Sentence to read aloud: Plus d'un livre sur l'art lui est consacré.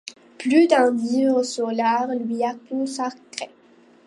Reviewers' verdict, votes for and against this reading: rejected, 0, 2